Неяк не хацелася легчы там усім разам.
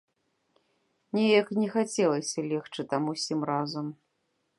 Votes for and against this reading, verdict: 2, 0, accepted